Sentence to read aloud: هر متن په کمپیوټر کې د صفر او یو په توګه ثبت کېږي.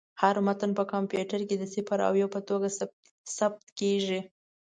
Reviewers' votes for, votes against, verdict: 0, 2, rejected